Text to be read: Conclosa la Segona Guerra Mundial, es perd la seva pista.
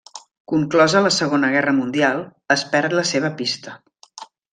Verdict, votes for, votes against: accepted, 3, 0